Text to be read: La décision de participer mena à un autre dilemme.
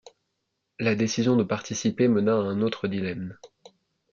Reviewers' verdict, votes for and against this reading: accepted, 2, 0